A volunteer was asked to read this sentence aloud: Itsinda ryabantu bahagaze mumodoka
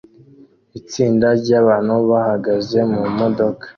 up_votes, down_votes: 2, 0